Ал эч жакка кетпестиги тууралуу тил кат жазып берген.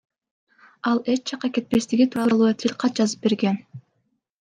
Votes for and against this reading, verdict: 1, 2, rejected